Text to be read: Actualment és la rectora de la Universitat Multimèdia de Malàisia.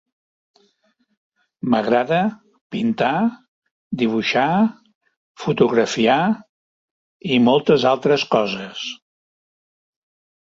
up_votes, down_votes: 0, 3